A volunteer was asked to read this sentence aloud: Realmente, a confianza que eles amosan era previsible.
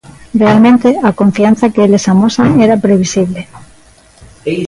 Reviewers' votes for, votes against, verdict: 2, 0, accepted